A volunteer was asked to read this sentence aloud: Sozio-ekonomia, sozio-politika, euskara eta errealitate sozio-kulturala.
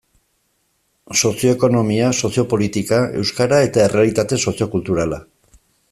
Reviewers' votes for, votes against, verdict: 2, 0, accepted